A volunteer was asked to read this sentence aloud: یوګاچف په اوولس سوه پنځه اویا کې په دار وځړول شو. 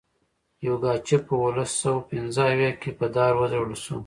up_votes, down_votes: 2, 0